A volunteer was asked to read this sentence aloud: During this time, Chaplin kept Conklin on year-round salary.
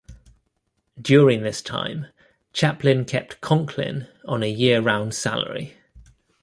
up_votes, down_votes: 1, 2